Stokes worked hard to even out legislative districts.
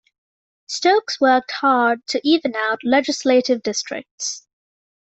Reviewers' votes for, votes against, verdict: 2, 0, accepted